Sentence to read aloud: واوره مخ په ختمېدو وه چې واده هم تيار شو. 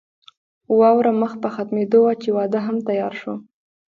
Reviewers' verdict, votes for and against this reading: accepted, 2, 0